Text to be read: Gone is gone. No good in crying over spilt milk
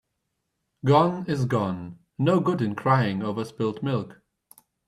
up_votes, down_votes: 2, 0